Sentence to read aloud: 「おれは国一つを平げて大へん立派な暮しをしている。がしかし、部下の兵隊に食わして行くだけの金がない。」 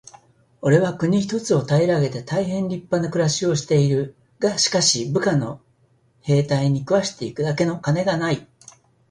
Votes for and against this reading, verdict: 6, 2, accepted